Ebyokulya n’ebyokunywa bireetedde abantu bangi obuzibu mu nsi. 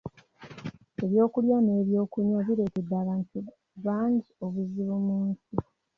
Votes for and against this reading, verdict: 2, 0, accepted